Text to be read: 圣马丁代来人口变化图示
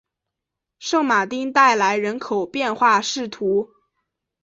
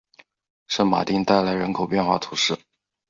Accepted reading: second